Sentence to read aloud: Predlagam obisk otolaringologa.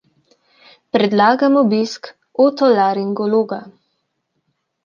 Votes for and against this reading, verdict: 2, 0, accepted